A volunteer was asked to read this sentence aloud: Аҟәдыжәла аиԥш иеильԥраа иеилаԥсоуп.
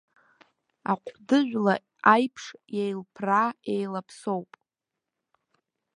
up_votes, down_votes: 1, 2